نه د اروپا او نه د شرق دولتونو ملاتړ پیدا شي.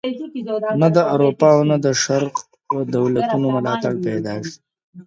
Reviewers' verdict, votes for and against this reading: rejected, 0, 2